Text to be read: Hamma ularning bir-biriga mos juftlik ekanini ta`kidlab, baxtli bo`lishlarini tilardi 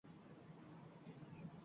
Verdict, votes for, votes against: rejected, 0, 2